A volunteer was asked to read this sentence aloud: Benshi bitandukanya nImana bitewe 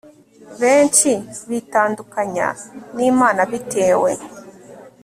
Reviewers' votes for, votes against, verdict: 2, 0, accepted